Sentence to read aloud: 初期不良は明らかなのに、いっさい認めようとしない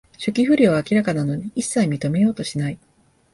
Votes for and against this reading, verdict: 2, 0, accepted